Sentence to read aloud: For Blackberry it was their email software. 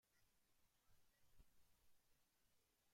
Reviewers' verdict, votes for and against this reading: rejected, 0, 2